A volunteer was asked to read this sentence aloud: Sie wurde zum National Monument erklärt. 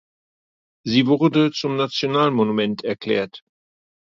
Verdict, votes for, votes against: accepted, 2, 0